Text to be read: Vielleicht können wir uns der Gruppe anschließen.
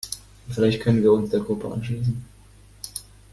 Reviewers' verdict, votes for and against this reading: accepted, 2, 0